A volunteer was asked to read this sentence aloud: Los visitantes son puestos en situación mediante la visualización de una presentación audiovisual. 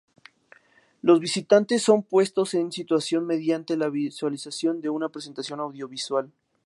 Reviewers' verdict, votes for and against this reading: accepted, 4, 0